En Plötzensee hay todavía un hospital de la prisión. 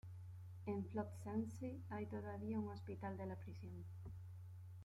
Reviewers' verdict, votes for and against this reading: rejected, 0, 2